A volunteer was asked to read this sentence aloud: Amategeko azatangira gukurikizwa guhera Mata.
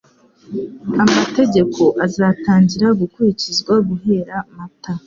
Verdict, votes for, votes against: accepted, 2, 0